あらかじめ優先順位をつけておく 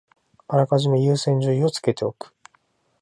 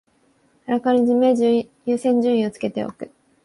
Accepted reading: first